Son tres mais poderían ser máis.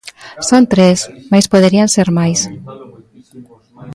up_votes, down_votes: 1, 2